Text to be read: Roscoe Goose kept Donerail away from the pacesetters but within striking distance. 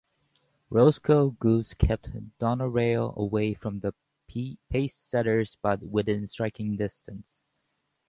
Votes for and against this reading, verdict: 0, 2, rejected